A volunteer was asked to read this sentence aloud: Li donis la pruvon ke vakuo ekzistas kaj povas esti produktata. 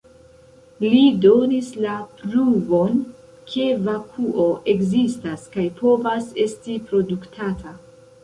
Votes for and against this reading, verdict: 1, 2, rejected